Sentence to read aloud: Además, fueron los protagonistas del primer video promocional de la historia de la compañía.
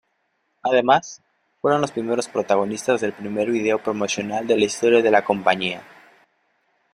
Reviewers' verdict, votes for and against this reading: rejected, 1, 2